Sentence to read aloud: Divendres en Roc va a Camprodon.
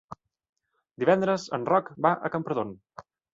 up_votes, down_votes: 2, 0